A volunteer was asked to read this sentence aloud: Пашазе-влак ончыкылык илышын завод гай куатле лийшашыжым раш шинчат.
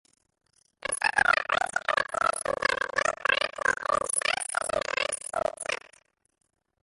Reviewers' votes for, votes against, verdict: 0, 2, rejected